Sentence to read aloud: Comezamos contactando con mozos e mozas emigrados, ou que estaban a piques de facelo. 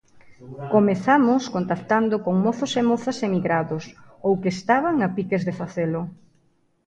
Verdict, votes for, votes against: accepted, 2, 0